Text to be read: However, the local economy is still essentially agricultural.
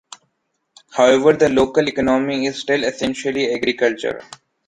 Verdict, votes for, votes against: rejected, 1, 2